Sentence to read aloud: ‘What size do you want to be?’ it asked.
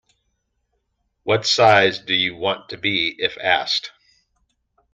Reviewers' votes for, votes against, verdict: 1, 2, rejected